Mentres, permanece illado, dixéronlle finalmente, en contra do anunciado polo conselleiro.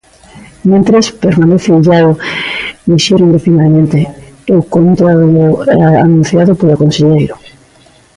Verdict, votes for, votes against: rejected, 0, 2